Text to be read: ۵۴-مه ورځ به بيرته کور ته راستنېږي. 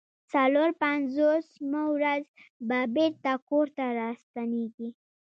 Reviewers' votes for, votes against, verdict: 0, 2, rejected